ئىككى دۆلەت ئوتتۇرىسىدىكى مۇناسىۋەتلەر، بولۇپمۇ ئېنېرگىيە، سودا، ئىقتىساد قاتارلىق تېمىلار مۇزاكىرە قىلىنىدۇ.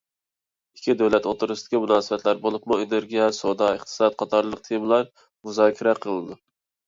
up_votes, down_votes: 2, 0